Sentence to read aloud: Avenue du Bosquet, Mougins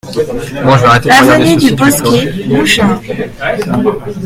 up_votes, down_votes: 0, 2